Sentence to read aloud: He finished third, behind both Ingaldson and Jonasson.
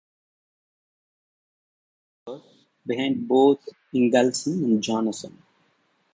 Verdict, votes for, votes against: rejected, 0, 2